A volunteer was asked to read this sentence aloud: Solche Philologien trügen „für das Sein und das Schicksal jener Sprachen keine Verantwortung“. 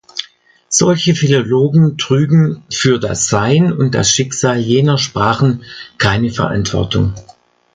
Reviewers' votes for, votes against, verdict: 1, 2, rejected